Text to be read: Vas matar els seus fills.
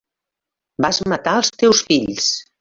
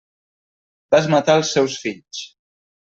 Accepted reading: second